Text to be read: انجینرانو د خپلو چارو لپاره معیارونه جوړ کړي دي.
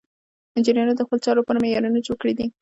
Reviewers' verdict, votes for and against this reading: rejected, 1, 2